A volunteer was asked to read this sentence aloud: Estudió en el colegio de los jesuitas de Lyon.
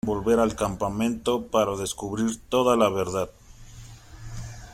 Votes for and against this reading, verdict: 0, 2, rejected